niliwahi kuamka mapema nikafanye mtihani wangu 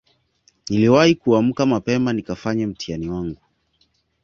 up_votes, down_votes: 2, 0